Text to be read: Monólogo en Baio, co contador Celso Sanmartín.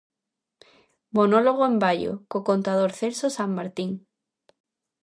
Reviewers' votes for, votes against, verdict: 2, 0, accepted